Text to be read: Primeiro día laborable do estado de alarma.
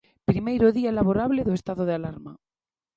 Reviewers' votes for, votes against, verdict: 2, 0, accepted